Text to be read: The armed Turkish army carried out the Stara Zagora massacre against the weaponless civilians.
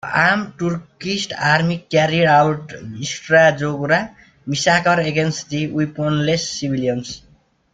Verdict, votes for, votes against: rejected, 1, 2